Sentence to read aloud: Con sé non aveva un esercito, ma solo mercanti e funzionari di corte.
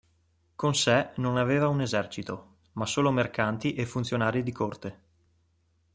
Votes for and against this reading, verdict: 2, 0, accepted